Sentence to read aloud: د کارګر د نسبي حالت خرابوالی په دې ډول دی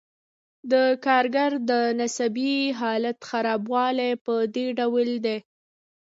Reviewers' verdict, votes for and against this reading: rejected, 0, 2